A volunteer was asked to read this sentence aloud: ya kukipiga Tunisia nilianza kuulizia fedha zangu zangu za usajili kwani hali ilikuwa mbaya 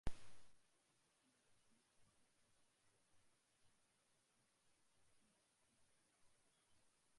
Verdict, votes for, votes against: rejected, 0, 2